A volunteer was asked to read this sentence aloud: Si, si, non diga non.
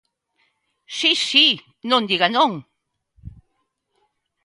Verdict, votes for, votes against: accepted, 2, 0